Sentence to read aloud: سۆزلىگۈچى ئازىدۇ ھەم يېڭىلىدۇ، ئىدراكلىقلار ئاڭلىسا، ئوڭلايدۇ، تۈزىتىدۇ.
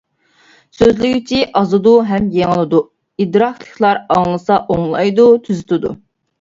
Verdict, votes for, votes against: accepted, 2, 0